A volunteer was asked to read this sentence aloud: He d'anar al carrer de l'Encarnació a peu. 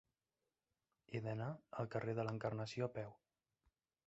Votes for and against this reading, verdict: 0, 2, rejected